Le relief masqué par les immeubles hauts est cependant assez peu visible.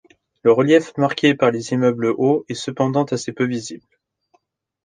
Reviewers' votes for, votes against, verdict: 1, 2, rejected